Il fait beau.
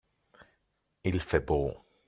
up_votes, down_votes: 2, 1